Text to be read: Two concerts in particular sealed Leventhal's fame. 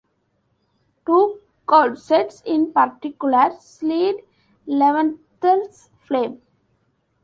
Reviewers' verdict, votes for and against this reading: rejected, 1, 2